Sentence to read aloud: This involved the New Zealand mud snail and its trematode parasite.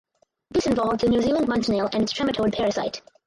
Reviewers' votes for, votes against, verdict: 0, 2, rejected